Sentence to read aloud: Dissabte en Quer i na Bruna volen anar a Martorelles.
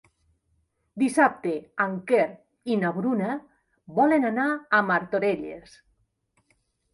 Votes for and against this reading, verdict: 3, 0, accepted